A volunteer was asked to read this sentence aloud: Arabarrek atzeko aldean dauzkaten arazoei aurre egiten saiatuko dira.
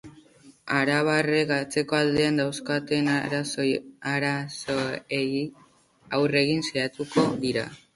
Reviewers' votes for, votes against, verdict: 0, 3, rejected